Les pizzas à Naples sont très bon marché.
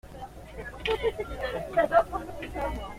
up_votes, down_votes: 0, 2